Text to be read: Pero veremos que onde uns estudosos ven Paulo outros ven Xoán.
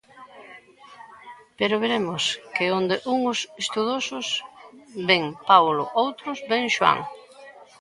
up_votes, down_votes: 1, 2